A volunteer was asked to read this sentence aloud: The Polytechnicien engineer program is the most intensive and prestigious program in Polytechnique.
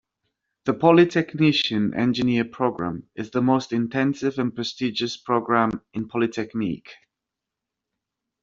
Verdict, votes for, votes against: accepted, 2, 0